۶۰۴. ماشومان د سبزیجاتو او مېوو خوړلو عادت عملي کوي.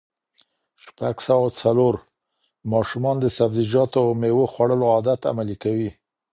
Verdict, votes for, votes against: rejected, 0, 2